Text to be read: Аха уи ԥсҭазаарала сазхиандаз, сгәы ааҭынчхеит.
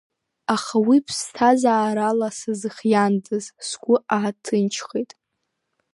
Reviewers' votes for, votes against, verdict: 0, 2, rejected